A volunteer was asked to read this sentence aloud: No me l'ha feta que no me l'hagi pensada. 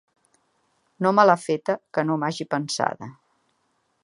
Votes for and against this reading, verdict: 0, 2, rejected